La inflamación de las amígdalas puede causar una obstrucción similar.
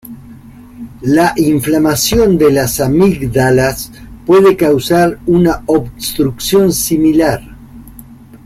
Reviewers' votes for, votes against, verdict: 3, 0, accepted